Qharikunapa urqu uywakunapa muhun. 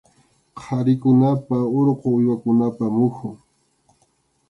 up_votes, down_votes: 2, 0